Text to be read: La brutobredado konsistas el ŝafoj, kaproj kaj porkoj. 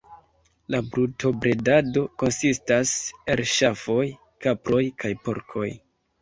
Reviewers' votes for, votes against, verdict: 1, 2, rejected